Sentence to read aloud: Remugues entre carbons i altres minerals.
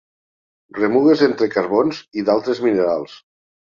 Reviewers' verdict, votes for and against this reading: rejected, 0, 2